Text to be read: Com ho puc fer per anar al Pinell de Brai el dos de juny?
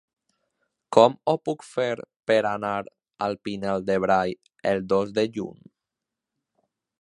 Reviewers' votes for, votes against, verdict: 2, 3, rejected